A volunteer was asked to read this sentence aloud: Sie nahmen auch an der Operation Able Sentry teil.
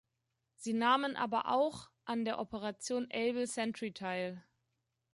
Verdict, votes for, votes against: rejected, 1, 2